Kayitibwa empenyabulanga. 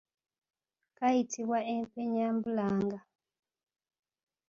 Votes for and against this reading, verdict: 2, 1, accepted